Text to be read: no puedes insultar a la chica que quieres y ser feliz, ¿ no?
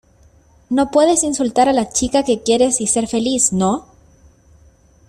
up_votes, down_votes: 2, 0